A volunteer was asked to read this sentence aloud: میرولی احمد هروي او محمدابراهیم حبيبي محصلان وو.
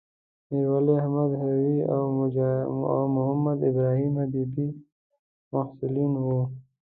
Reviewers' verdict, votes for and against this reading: rejected, 1, 2